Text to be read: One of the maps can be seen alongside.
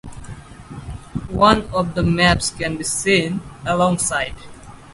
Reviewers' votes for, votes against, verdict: 4, 0, accepted